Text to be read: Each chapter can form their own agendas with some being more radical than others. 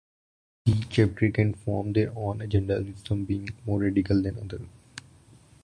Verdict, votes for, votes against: rejected, 0, 2